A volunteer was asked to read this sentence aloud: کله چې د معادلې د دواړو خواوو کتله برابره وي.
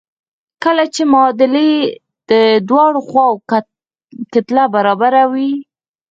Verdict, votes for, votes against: rejected, 2, 4